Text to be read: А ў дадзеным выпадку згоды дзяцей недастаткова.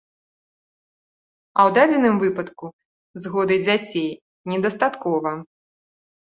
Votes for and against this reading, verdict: 2, 0, accepted